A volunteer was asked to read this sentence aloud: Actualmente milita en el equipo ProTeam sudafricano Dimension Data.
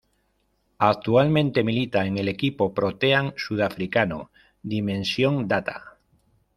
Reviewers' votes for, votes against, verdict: 1, 2, rejected